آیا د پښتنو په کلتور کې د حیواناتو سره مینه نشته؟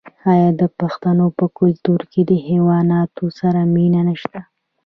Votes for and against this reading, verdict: 1, 2, rejected